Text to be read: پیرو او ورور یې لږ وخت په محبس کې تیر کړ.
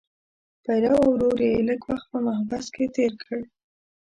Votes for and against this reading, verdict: 0, 2, rejected